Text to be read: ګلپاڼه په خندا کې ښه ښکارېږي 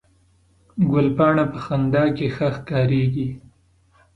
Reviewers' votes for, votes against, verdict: 2, 0, accepted